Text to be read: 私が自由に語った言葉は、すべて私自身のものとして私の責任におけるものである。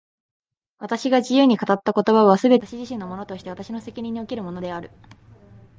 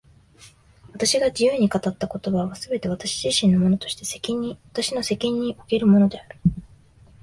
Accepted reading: first